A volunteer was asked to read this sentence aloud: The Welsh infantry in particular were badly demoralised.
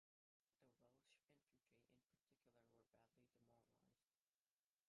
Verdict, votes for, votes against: rejected, 0, 2